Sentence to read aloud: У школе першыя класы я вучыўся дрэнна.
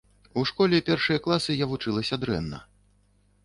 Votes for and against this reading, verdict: 0, 2, rejected